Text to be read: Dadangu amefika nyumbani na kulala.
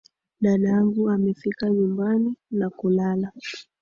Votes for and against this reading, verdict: 2, 1, accepted